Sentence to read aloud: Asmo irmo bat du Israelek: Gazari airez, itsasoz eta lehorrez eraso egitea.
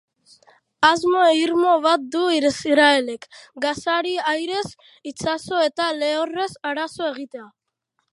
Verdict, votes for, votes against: rejected, 0, 4